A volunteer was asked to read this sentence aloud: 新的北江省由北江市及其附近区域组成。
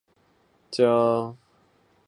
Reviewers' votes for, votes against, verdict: 0, 3, rejected